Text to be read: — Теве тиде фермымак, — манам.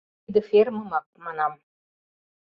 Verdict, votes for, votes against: rejected, 0, 2